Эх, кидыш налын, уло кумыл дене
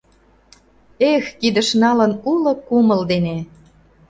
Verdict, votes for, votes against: accepted, 2, 0